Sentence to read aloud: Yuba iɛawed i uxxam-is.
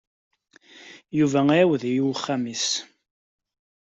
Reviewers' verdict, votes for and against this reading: accepted, 2, 0